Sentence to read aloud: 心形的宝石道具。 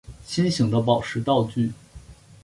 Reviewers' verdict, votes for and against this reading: accepted, 2, 0